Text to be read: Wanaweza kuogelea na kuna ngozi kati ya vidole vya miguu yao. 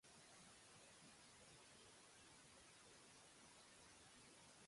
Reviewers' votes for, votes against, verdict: 1, 2, rejected